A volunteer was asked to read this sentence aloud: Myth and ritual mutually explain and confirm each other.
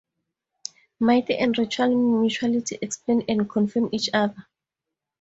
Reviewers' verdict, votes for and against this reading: rejected, 0, 4